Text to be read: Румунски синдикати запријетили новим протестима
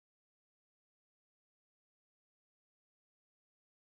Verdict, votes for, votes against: rejected, 0, 2